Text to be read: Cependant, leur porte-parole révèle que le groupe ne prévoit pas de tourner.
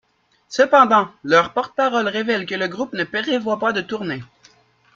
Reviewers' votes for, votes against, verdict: 0, 2, rejected